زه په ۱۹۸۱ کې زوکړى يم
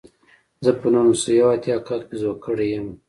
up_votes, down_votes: 0, 2